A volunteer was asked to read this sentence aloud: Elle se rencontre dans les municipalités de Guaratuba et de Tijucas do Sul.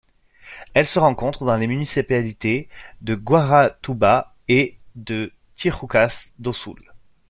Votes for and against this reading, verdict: 0, 2, rejected